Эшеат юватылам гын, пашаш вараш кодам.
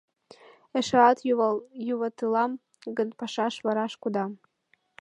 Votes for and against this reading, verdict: 1, 5, rejected